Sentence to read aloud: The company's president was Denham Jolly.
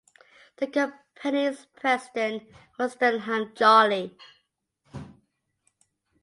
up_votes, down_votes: 0, 2